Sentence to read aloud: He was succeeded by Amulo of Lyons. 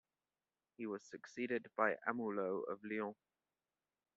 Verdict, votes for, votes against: accepted, 2, 0